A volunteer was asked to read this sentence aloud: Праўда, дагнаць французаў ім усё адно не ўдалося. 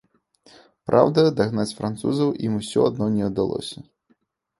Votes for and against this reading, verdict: 2, 0, accepted